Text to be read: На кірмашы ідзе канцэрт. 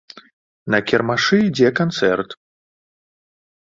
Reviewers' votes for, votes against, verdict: 2, 1, accepted